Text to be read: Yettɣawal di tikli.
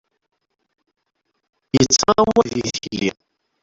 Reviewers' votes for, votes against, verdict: 0, 2, rejected